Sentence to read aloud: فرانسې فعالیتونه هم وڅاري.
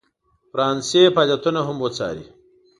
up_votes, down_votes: 2, 0